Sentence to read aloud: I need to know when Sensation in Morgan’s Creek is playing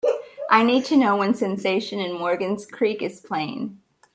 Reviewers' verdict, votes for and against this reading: accepted, 2, 0